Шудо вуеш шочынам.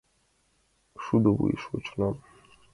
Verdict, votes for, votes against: accepted, 2, 0